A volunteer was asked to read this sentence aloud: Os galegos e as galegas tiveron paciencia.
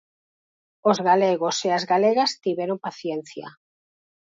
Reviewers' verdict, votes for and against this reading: accepted, 4, 2